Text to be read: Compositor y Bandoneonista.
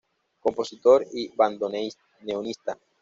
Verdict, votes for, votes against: rejected, 1, 2